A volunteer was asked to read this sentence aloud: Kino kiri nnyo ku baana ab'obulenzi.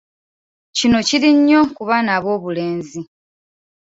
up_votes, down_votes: 3, 0